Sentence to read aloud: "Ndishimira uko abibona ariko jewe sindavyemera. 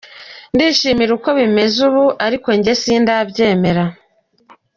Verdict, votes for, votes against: rejected, 1, 2